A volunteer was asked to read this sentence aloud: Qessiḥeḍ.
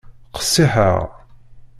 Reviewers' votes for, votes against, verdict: 1, 2, rejected